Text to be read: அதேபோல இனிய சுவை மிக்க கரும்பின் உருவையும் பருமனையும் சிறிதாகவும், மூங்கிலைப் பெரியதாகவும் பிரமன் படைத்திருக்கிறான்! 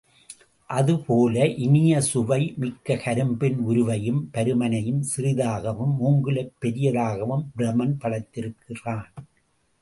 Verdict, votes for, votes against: accepted, 2, 0